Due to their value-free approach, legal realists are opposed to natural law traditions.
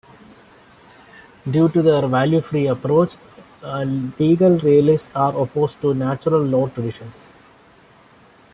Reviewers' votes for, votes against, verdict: 0, 2, rejected